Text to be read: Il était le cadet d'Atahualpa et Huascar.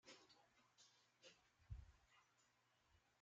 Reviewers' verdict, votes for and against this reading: rejected, 0, 2